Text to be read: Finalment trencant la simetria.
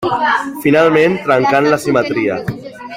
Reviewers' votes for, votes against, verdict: 1, 2, rejected